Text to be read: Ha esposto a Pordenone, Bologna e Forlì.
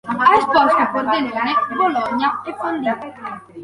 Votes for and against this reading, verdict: 2, 1, accepted